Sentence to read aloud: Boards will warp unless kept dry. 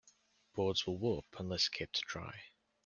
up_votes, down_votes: 2, 0